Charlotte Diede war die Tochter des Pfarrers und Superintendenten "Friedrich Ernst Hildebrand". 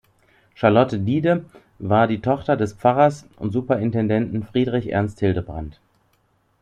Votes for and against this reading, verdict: 2, 0, accepted